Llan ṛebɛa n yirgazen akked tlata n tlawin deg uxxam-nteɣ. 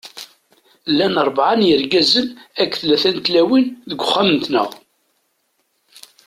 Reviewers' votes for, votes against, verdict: 2, 0, accepted